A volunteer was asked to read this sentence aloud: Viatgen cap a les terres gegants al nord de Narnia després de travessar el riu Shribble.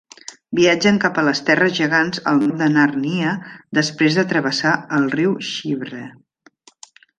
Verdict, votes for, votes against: rejected, 0, 2